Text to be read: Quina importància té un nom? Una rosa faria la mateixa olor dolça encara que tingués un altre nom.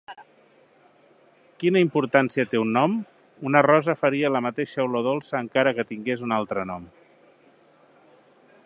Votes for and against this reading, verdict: 4, 0, accepted